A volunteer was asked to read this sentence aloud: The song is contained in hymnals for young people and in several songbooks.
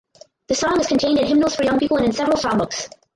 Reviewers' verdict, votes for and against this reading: rejected, 2, 4